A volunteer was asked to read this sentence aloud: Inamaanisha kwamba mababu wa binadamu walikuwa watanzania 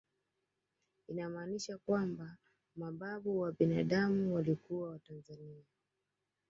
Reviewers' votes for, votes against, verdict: 2, 0, accepted